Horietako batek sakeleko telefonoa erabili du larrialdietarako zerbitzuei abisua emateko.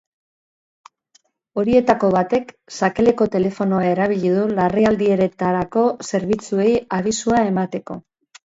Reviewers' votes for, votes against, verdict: 0, 4, rejected